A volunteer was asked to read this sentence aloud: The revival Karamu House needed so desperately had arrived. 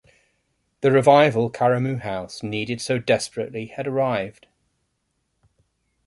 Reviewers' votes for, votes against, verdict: 3, 0, accepted